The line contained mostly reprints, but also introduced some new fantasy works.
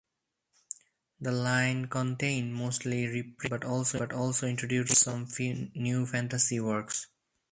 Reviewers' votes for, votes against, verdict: 0, 4, rejected